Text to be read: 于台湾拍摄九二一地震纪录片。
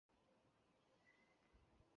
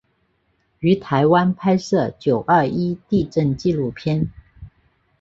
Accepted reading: second